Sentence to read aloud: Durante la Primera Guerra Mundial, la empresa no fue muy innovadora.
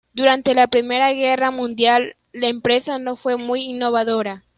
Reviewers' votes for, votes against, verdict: 2, 0, accepted